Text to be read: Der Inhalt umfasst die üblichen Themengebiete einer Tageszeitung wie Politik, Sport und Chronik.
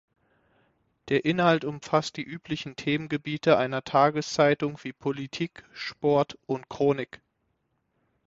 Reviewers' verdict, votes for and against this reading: accepted, 6, 0